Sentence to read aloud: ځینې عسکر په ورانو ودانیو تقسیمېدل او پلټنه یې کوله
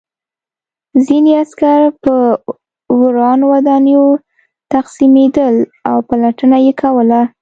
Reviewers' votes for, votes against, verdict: 3, 0, accepted